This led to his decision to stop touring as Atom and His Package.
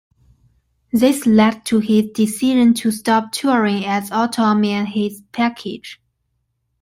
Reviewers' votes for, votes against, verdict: 2, 1, accepted